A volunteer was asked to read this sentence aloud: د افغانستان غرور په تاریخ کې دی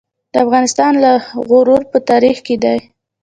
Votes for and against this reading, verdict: 0, 2, rejected